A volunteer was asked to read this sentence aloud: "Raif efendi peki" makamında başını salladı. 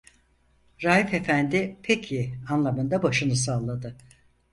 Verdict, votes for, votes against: rejected, 0, 4